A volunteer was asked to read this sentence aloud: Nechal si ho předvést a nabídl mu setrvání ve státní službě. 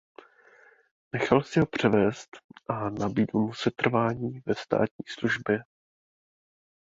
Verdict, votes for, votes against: rejected, 1, 2